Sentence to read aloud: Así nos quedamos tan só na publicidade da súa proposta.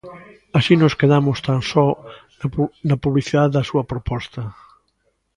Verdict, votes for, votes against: rejected, 0, 2